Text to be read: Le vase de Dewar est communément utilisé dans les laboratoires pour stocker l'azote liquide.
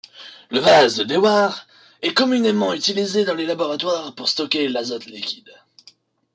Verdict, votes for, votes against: accepted, 2, 0